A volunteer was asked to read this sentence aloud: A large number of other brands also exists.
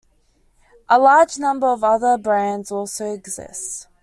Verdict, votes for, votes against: accepted, 2, 0